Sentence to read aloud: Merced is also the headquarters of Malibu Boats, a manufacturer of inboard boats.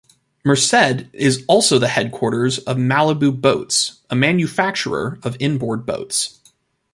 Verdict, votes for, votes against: accepted, 2, 0